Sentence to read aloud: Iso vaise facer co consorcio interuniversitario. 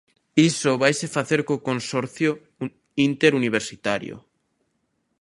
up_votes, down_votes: 1, 2